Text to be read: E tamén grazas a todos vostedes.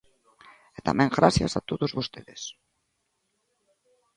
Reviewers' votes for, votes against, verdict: 0, 2, rejected